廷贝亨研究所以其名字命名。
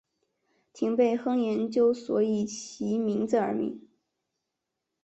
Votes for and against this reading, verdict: 1, 2, rejected